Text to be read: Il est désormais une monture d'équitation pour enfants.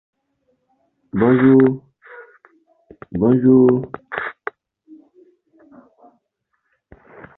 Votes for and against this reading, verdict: 0, 2, rejected